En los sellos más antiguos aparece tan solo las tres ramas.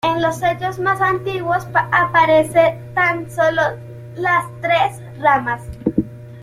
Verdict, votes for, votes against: accepted, 2, 0